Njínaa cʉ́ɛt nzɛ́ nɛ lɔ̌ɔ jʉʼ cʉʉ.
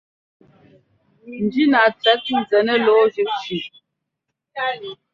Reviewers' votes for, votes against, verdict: 0, 2, rejected